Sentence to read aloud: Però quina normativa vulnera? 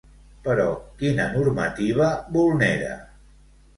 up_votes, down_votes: 2, 0